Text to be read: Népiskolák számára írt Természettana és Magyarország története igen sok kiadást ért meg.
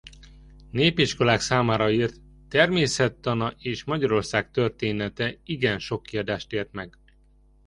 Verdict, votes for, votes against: accepted, 2, 0